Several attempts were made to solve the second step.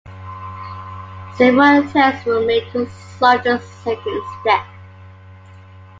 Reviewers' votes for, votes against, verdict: 0, 2, rejected